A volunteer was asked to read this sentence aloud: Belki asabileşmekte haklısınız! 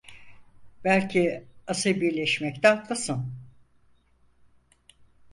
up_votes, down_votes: 2, 4